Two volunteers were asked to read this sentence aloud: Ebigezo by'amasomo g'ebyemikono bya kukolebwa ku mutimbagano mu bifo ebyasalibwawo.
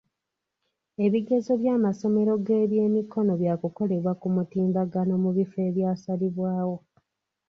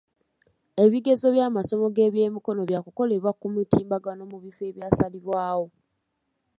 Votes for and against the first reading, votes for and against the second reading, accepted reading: 0, 2, 2, 0, second